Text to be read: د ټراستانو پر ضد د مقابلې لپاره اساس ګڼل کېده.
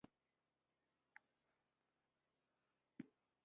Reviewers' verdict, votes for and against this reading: rejected, 0, 2